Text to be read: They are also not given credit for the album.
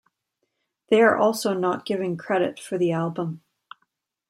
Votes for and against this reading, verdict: 2, 0, accepted